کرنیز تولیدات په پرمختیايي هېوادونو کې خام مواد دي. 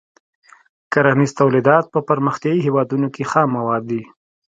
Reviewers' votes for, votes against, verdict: 2, 0, accepted